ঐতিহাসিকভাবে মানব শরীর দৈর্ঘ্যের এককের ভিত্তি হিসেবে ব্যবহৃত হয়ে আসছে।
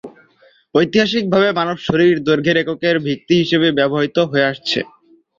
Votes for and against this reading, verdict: 2, 0, accepted